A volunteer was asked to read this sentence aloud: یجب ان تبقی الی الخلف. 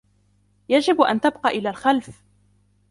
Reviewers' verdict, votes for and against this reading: rejected, 1, 3